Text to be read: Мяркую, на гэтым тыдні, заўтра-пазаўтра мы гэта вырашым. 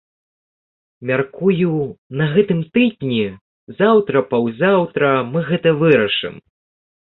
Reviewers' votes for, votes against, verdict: 1, 2, rejected